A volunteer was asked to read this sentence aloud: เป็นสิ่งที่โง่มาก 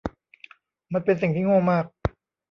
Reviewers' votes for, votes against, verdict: 1, 2, rejected